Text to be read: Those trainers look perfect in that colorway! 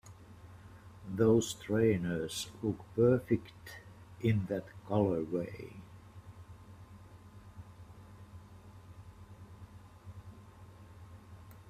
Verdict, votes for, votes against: accepted, 2, 0